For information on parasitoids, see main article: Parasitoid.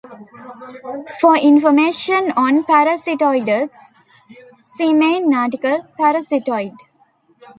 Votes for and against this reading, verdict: 1, 2, rejected